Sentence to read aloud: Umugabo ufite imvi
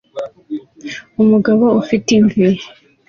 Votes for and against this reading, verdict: 2, 0, accepted